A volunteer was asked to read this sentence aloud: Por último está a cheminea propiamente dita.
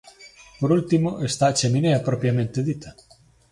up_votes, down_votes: 2, 0